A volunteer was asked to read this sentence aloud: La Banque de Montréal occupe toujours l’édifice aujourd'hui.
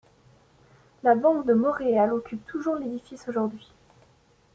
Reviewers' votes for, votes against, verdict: 2, 1, accepted